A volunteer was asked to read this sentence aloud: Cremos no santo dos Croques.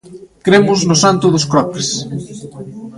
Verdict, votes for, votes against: accepted, 2, 0